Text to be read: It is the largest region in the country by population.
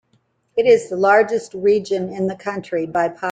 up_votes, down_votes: 0, 2